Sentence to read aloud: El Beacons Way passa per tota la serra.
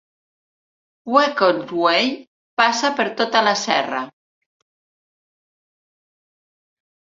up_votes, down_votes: 2, 1